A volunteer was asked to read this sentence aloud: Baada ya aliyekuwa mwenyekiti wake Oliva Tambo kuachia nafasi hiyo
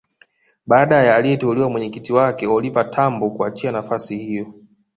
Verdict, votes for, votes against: rejected, 1, 2